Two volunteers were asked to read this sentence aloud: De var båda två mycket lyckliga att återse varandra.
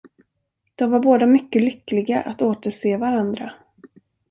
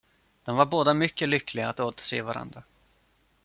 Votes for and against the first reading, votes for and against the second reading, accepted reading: 1, 2, 2, 0, second